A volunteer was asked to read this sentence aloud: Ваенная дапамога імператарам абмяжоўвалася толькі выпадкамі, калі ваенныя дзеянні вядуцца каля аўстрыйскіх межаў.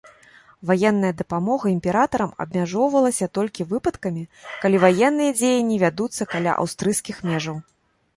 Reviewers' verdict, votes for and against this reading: accepted, 3, 0